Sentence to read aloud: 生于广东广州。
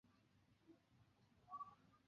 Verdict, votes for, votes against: rejected, 1, 3